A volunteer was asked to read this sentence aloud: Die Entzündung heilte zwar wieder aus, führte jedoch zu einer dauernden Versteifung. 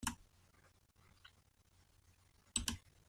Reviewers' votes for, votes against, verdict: 0, 2, rejected